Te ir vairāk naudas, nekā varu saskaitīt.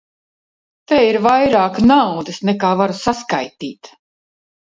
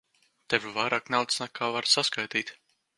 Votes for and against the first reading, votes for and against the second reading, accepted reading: 2, 0, 1, 2, first